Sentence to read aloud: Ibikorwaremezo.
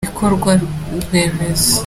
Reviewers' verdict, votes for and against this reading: accepted, 2, 0